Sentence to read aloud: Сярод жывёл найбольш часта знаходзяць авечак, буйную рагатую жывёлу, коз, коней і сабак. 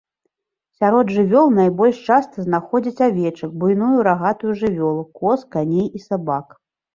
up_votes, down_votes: 1, 2